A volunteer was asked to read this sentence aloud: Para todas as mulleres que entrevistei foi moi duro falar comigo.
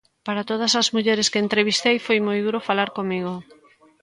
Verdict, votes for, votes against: accepted, 2, 0